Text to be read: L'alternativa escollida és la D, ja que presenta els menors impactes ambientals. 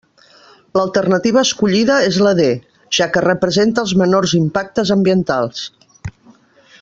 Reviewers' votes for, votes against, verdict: 0, 2, rejected